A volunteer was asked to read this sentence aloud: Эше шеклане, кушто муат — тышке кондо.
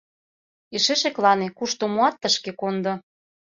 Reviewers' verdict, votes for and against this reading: accepted, 2, 0